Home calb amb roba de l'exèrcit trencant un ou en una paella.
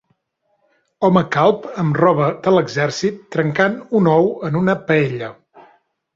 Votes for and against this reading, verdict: 3, 0, accepted